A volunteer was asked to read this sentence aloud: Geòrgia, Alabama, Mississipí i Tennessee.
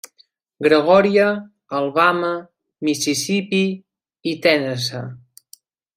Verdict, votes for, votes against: rejected, 0, 2